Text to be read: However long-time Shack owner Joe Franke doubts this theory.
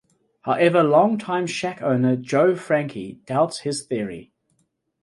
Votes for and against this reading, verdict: 2, 0, accepted